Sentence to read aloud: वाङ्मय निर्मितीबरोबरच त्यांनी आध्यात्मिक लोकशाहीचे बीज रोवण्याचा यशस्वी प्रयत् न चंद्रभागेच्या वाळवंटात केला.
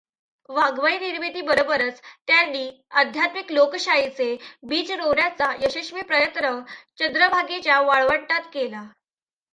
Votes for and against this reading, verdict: 1, 2, rejected